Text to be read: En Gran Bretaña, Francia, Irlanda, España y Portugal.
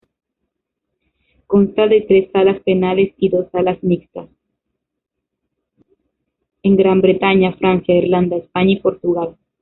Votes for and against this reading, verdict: 0, 3, rejected